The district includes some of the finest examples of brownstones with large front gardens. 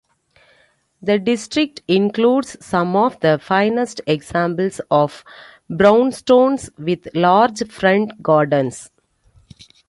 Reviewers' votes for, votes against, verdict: 2, 1, accepted